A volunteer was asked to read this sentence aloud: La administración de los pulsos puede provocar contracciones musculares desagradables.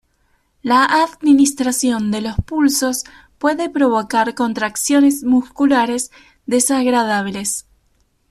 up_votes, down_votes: 2, 0